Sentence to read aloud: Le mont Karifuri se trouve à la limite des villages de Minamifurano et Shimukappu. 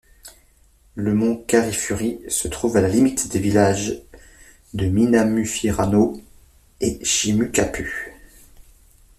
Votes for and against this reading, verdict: 1, 2, rejected